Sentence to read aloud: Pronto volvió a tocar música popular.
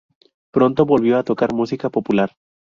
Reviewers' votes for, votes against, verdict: 2, 0, accepted